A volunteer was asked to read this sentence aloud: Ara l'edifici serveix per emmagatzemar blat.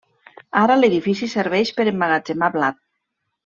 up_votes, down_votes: 2, 0